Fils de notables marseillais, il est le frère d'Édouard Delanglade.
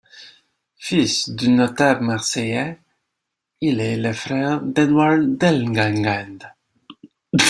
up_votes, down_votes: 2, 1